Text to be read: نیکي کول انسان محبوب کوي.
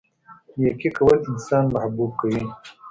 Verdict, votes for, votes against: accepted, 2, 0